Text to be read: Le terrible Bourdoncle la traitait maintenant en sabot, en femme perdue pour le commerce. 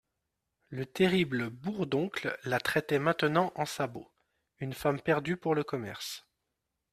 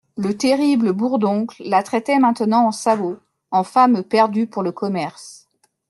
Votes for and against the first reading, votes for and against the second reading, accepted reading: 1, 2, 2, 1, second